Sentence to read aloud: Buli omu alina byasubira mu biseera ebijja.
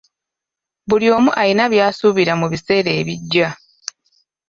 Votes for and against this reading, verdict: 1, 2, rejected